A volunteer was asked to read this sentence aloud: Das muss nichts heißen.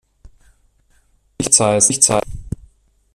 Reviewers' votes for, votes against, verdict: 0, 2, rejected